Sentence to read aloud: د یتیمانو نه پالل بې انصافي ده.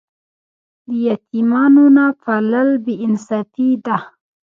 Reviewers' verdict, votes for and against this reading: rejected, 0, 2